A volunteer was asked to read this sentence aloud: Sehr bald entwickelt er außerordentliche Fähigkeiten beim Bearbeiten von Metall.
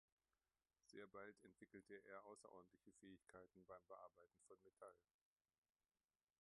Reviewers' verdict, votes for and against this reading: rejected, 1, 2